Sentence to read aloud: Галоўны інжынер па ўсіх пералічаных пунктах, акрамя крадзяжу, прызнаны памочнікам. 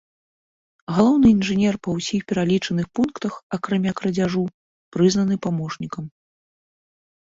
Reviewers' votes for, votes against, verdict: 1, 2, rejected